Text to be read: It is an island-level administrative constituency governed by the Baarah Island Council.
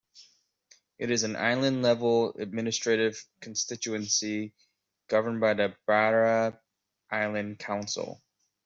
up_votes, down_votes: 0, 2